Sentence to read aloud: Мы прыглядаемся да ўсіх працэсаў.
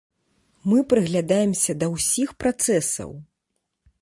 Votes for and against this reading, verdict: 2, 0, accepted